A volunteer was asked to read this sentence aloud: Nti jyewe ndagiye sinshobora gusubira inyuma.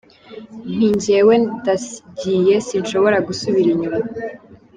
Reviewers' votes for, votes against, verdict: 3, 0, accepted